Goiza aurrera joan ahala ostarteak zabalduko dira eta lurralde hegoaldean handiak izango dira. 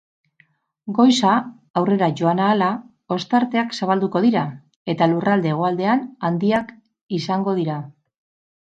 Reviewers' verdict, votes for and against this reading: rejected, 0, 2